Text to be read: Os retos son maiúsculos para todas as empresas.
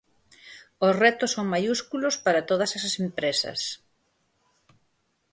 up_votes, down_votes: 0, 4